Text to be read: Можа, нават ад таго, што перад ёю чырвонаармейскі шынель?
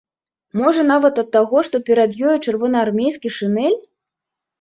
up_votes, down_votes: 2, 0